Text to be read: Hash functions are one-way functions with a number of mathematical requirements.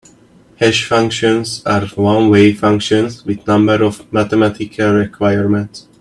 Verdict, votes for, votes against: accepted, 2, 1